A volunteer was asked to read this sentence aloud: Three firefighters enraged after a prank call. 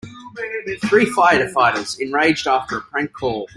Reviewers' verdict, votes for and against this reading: rejected, 1, 2